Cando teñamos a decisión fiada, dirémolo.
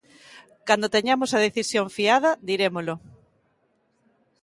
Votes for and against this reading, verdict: 4, 0, accepted